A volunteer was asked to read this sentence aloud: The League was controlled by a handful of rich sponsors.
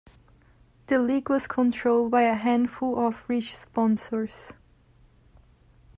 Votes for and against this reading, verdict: 1, 2, rejected